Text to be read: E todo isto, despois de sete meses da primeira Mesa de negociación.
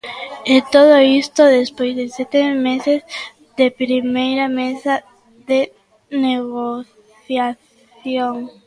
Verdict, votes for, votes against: rejected, 0, 2